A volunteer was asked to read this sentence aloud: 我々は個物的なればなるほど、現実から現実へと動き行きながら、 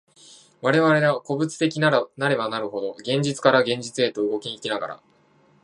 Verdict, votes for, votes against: rejected, 1, 2